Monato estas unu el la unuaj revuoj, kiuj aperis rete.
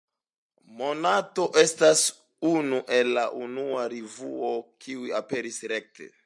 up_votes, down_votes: 2, 0